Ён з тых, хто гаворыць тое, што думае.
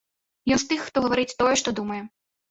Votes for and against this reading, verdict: 0, 2, rejected